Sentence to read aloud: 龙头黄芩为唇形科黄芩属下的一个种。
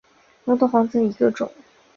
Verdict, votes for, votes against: rejected, 1, 2